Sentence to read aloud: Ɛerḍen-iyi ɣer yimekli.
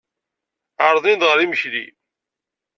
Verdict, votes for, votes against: accepted, 2, 0